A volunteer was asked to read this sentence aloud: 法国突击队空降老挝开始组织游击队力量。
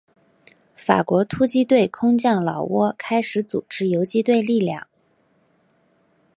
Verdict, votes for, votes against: accepted, 3, 0